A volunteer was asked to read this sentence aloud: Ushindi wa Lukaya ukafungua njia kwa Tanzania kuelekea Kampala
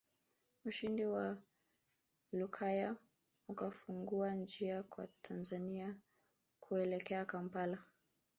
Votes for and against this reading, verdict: 1, 2, rejected